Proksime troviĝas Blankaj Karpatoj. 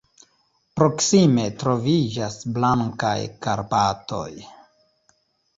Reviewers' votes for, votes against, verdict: 2, 1, accepted